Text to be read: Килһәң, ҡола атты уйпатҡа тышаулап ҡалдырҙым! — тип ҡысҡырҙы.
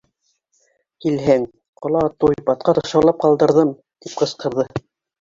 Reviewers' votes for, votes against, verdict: 2, 3, rejected